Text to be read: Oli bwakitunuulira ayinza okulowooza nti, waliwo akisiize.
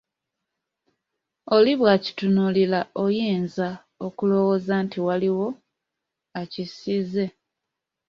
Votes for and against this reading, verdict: 0, 2, rejected